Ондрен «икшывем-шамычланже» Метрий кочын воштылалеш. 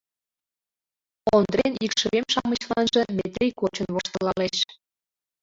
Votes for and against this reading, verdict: 2, 1, accepted